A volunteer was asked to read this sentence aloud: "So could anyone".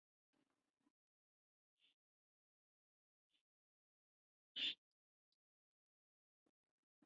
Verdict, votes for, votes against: rejected, 0, 3